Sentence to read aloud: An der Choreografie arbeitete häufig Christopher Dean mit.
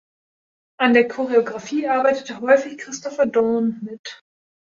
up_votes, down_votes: 0, 2